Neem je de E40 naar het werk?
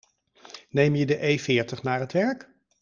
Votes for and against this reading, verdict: 0, 2, rejected